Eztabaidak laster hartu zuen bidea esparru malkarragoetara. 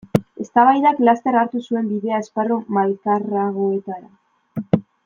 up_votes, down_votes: 2, 1